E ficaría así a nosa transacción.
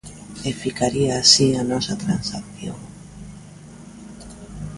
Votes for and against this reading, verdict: 2, 0, accepted